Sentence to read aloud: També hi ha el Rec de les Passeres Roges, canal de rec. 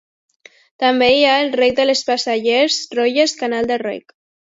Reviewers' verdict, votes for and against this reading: rejected, 1, 2